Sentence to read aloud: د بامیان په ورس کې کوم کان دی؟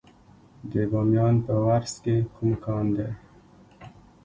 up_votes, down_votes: 1, 2